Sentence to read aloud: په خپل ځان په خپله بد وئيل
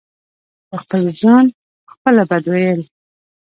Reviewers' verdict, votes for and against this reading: accepted, 2, 0